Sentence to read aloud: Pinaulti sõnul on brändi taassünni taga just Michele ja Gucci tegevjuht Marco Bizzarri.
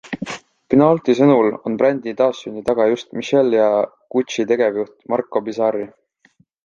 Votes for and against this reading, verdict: 2, 1, accepted